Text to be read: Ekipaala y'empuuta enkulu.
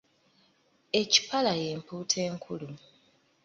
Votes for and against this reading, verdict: 1, 2, rejected